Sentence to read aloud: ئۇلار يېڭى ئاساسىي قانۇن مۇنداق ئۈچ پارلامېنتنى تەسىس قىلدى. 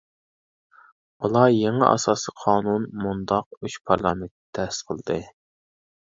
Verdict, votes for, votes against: rejected, 0, 2